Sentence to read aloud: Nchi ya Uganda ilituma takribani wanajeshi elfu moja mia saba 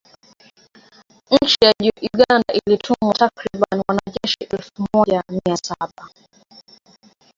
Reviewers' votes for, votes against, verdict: 0, 2, rejected